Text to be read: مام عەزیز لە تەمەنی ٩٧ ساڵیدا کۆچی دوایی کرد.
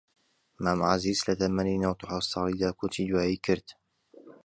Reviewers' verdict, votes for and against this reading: rejected, 0, 2